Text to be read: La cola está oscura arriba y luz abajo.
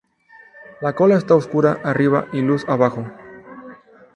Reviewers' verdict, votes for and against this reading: accepted, 2, 0